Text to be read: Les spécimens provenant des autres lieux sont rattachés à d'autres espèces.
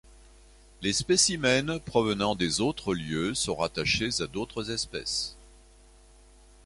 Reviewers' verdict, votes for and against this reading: accepted, 2, 0